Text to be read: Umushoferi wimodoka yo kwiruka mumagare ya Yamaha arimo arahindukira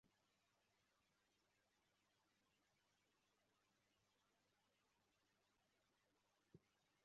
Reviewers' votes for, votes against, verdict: 1, 3, rejected